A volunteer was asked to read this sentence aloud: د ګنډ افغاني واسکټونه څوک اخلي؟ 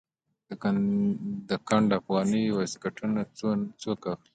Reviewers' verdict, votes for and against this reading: accepted, 2, 0